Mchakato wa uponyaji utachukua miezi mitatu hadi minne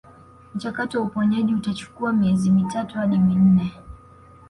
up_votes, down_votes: 2, 0